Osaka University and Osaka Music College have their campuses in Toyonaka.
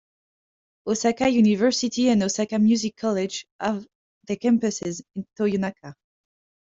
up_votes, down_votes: 2, 0